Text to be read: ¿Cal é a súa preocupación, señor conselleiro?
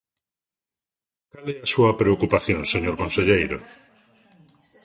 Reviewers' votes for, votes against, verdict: 0, 2, rejected